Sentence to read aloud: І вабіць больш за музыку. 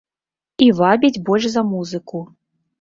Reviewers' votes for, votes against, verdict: 2, 0, accepted